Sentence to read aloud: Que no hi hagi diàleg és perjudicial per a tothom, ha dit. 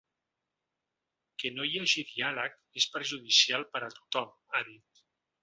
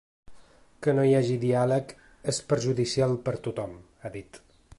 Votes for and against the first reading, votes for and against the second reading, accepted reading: 2, 0, 0, 2, first